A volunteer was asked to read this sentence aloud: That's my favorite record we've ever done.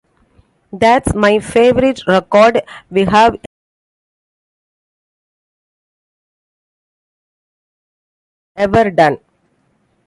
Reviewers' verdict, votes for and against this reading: rejected, 0, 2